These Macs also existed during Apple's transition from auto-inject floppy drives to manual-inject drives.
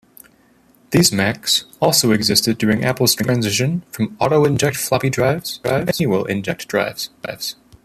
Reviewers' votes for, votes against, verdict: 1, 3, rejected